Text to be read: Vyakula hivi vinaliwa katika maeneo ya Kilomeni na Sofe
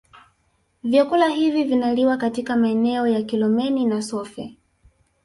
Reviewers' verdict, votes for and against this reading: rejected, 1, 2